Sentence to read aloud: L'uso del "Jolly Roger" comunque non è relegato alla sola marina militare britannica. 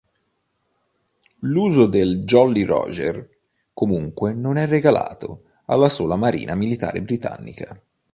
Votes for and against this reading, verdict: 0, 2, rejected